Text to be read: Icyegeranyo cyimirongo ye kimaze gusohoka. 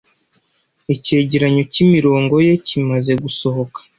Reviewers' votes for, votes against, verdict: 2, 0, accepted